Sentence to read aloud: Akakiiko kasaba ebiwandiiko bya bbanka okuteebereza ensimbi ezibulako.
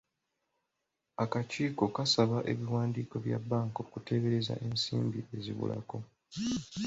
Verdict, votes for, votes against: accepted, 2, 0